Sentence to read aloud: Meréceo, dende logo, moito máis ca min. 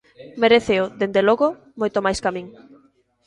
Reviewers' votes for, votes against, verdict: 2, 0, accepted